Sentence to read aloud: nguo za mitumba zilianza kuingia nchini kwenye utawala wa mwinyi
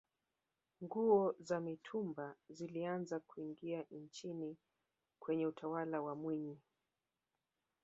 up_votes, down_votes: 2, 1